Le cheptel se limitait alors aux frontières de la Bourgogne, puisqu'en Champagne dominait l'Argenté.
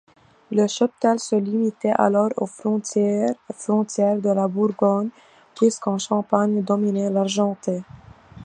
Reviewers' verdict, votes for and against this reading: rejected, 0, 2